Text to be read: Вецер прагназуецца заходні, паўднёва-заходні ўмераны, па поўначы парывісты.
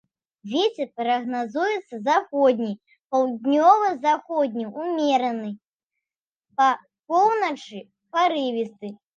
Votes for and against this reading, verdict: 2, 0, accepted